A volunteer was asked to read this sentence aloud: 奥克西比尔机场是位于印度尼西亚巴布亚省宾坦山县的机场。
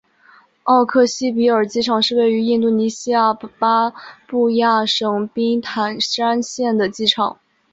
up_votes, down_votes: 3, 0